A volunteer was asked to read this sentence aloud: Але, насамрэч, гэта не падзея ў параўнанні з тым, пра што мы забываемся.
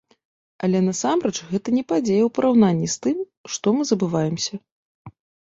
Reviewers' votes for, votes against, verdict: 1, 2, rejected